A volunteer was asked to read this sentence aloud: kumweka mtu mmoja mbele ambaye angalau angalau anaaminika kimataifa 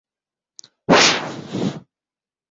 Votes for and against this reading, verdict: 1, 6, rejected